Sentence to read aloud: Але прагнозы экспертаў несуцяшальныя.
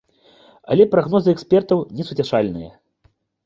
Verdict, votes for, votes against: accepted, 2, 0